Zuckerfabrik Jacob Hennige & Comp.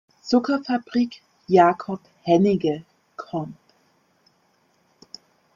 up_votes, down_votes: 0, 2